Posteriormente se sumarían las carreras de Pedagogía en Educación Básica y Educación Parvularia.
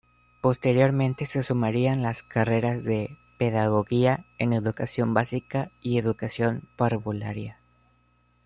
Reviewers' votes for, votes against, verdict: 2, 0, accepted